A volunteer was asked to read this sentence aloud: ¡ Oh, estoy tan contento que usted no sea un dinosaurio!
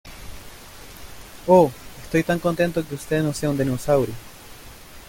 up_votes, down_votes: 2, 0